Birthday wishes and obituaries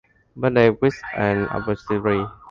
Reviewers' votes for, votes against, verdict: 0, 2, rejected